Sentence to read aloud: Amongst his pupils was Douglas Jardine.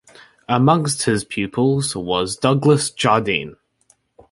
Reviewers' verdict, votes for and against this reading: rejected, 1, 2